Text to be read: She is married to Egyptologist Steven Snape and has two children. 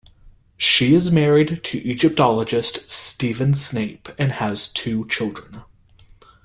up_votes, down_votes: 1, 2